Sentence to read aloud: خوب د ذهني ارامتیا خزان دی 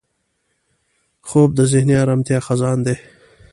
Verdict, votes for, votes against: accepted, 2, 0